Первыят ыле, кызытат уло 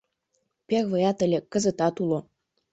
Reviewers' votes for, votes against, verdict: 2, 0, accepted